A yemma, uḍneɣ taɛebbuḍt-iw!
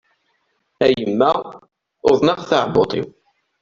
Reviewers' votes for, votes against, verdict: 2, 0, accepted